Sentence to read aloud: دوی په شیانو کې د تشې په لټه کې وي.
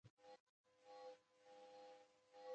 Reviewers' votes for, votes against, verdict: 1, 2, rejected